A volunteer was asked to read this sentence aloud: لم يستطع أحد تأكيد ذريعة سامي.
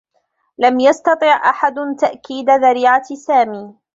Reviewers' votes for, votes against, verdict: 1, 2, rejected